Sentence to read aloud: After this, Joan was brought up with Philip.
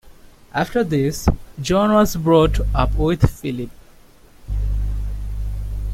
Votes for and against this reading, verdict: 2, 0, accepted